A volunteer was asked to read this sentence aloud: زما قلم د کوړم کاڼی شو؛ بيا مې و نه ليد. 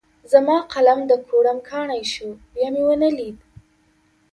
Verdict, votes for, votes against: accepted, 2, 0